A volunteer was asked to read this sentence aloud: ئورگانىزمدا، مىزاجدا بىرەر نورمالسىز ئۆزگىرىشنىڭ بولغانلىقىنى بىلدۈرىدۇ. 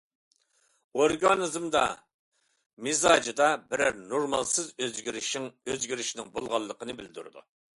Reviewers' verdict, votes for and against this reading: rejected, 0, 2